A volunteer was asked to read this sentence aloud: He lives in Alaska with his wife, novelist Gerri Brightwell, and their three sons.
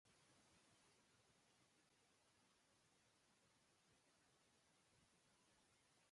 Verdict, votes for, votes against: rejected, 0, 2